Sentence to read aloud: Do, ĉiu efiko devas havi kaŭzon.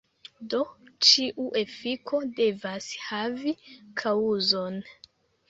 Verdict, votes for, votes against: rejected, 0, 2